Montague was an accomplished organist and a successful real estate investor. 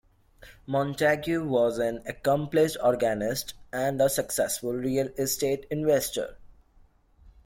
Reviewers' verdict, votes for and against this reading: accepted, 2, 0